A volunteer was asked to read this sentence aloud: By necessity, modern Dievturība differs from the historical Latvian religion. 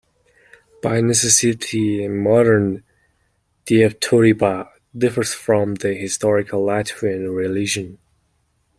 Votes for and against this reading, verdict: 2, 0, accepted